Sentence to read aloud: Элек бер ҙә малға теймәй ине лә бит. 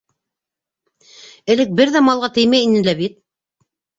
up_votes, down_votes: 2, 0